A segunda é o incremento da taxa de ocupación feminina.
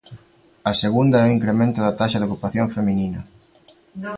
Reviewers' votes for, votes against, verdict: 2, 1, accepted